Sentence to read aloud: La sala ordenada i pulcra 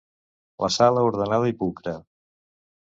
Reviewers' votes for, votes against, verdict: 2, 0, accepted